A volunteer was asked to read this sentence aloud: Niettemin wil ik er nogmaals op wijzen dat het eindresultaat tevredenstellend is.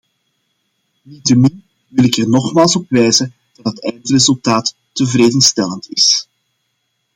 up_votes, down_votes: 1, 2